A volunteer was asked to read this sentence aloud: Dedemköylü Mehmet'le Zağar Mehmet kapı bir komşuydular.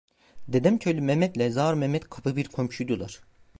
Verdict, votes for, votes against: accepted, 2, 0